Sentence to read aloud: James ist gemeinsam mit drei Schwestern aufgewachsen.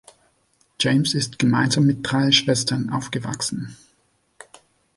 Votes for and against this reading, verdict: 3, 0, accepted